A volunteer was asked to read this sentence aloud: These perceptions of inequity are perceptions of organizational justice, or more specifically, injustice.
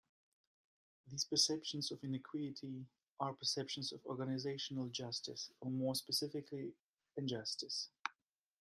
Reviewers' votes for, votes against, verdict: 0, 2, rejected